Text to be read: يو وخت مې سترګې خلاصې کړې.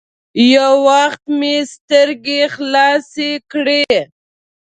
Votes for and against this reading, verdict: 1, 2, rejected